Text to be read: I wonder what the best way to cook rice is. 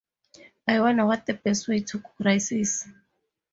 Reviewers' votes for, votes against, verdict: 2, 0, accepted